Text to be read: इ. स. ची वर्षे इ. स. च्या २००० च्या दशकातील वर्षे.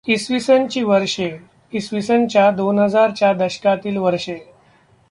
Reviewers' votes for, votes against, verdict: 0, 2, rejected